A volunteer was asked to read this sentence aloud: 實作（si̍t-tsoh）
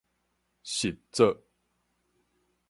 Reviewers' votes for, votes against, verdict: 4, 0, accepted